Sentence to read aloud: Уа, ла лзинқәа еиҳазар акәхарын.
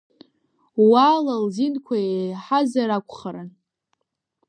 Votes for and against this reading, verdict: 1, 2, rejected